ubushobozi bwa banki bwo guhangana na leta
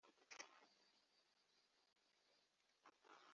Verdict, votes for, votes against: rejected, 1, 2